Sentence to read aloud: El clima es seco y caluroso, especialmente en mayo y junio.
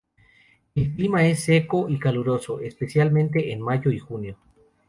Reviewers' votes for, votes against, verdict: 0, 2, rejected